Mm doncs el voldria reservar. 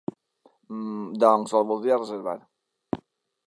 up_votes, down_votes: 2, 0